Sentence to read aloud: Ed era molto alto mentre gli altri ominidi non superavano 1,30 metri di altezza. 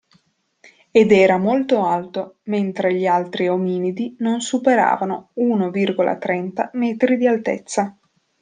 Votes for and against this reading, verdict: 0, 2, rejected